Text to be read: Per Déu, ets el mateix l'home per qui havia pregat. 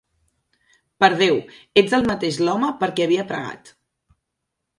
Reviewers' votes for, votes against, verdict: 2, 0, accepted